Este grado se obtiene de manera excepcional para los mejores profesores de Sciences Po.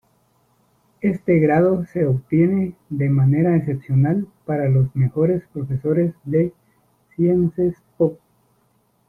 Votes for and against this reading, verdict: 1, 2, rejected